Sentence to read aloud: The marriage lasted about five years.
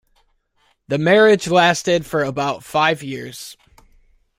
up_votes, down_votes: 0, 2